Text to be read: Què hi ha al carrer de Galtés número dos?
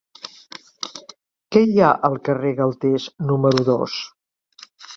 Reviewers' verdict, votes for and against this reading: rejected, 1, 2